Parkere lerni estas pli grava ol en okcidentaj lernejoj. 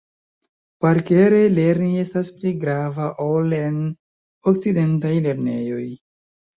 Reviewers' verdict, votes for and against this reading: accepted, 2, 1